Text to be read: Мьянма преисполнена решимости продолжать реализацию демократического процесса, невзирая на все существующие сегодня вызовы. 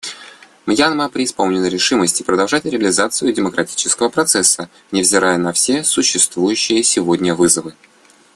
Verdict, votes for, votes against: accepted, 2, 0